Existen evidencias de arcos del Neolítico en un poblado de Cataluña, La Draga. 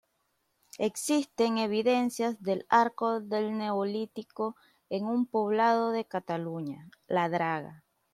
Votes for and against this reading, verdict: 0, 2, rejected